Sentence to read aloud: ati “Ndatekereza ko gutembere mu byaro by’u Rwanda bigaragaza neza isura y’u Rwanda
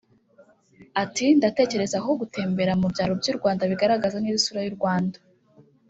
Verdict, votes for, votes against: rejected, 1, 2